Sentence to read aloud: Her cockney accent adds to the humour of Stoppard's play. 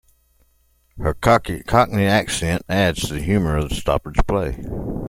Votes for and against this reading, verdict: 0, 2, rejected